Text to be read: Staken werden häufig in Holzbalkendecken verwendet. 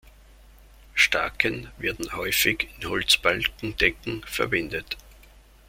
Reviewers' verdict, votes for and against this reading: accepted, 2, 0